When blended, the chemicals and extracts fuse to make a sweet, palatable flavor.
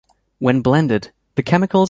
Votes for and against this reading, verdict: 0, 2, rejected